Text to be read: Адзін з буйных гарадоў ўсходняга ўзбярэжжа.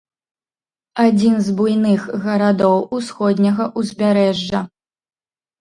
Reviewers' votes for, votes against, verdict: 1, 2, rejected